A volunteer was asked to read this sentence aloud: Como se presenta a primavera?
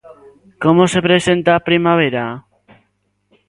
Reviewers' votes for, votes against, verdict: 2, 0, accepted